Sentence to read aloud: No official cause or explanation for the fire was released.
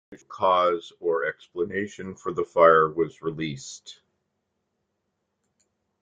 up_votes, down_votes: 0, 2